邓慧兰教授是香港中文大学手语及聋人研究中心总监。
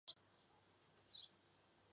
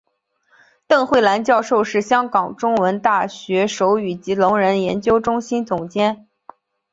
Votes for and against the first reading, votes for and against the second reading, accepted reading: 1, 6, 2, 0, second